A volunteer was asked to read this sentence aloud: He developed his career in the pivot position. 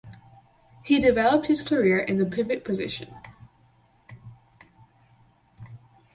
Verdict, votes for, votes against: accepted, 4, 0